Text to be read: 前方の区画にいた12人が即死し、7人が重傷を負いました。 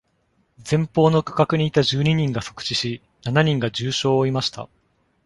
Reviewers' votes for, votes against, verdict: 0, 2, rejected